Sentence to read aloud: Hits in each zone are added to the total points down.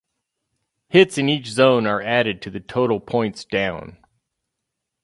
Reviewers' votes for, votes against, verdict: 2, 0, accepted